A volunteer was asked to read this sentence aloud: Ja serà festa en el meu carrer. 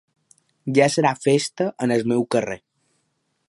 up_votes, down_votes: 3, 0